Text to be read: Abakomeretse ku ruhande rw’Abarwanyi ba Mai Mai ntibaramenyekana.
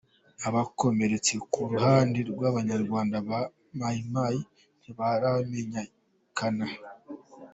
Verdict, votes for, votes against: accepted, 2, 0